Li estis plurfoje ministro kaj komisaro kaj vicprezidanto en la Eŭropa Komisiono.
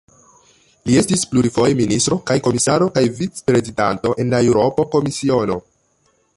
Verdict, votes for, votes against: rejected, 0, 2